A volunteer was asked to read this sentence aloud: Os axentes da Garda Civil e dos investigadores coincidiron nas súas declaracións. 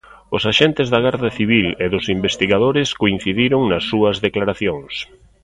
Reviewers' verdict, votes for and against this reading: accepted, 2, 0